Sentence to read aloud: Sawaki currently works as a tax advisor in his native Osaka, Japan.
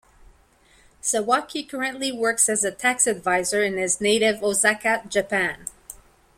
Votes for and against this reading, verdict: 2, 0, accepted